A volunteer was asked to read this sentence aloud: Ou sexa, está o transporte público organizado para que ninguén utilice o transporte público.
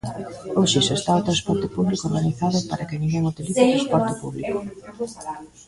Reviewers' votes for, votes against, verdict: 0, 2, rejected